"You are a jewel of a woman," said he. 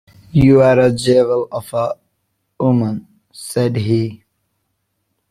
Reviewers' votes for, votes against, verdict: 0, 2, rejected